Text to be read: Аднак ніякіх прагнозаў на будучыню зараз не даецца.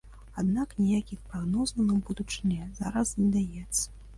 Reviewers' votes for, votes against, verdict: 2, 0, accepted